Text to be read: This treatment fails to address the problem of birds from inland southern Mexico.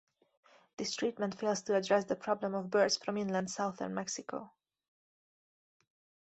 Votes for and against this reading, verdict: 2, 0, accepted